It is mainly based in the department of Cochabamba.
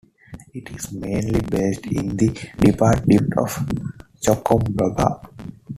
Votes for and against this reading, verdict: 1, 2, rejected